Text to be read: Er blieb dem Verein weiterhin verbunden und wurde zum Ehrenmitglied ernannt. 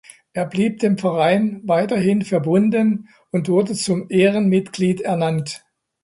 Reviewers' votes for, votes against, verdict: 2, 0, accepted